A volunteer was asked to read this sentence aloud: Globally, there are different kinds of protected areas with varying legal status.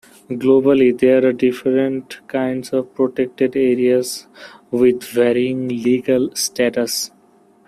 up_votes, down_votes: 2, 1